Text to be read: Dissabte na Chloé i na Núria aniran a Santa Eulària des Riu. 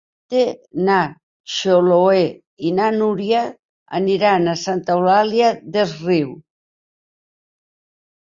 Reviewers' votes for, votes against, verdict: 0, 2, rejected